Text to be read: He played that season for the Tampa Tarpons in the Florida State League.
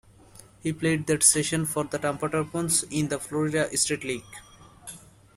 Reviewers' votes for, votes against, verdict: 1, 2, rejected